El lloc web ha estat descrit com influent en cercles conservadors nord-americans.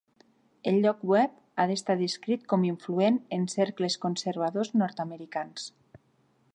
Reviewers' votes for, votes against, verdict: 2, 3, rejected